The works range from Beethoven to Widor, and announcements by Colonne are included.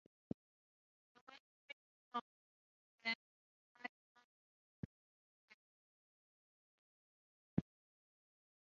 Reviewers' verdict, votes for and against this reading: rejected, 0, 3